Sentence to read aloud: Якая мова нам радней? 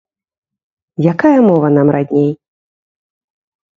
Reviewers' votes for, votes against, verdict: 2, 0, accepted